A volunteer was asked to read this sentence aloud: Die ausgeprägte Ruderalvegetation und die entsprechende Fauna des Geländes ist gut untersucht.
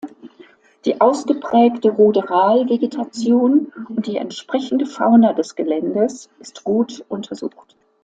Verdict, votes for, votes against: accepted, 2, 0